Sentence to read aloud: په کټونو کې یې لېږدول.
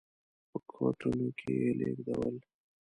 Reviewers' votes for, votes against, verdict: 0, 2, rejected